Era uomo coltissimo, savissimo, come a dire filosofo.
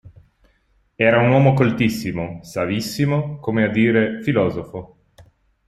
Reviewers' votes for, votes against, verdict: 2, 1, accepted